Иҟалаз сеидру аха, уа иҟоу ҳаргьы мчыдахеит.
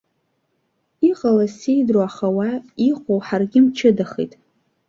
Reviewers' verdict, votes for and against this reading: accepted, 2, 0